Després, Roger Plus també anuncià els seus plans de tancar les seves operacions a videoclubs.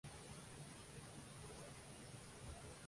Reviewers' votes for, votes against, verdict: 0, 2, rejected